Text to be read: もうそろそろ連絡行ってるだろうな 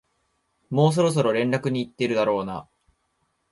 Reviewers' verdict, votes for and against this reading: rejected, 0, 2